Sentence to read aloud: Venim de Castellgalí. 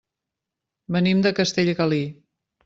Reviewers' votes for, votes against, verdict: 2, 0, accepted